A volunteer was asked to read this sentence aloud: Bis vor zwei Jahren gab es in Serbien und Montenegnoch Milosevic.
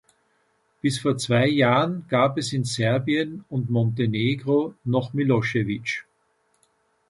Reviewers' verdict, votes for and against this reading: rejected, 0, 2